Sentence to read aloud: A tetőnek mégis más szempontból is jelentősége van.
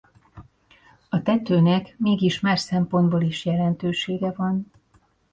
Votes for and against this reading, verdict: 2, 0, accepted